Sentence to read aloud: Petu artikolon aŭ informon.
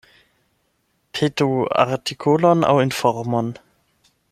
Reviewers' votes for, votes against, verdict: 8, 0, accepted